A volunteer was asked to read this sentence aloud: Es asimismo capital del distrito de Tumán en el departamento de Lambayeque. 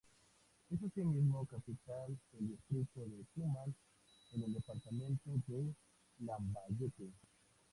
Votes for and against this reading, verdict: 0, 2, rejected